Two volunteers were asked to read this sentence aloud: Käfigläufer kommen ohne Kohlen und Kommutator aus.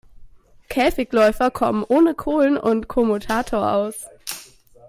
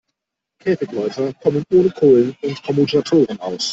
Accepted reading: first